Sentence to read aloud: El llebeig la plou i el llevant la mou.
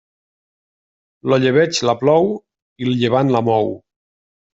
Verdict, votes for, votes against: rejected, 1, 2